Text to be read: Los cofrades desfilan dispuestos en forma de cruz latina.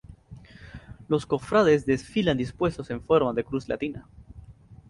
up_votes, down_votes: 4, 0